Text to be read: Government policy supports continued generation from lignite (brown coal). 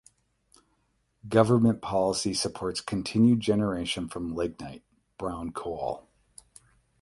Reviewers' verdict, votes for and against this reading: accepted, 8, 0